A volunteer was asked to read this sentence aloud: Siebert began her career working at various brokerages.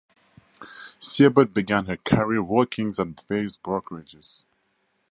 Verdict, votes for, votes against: accepted, 4, 0